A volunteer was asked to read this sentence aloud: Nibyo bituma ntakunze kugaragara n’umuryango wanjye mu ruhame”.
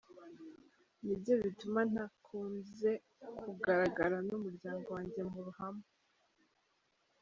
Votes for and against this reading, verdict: 3, 1, accepted